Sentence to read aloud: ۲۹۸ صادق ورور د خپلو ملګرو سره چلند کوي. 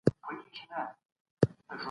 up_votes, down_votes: 0, 2